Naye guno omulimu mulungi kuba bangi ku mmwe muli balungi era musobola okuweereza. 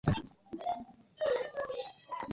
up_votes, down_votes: 0, 2